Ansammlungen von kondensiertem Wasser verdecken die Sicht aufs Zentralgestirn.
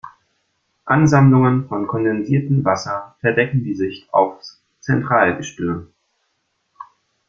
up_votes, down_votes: 2, 0